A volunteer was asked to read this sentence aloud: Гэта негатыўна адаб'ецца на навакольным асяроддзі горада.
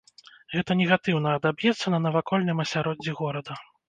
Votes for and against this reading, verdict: 3, 1, accepted